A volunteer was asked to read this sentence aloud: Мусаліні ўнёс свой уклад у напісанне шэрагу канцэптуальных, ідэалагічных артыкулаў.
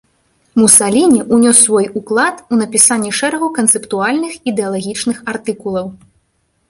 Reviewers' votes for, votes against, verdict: 2, 0, accepted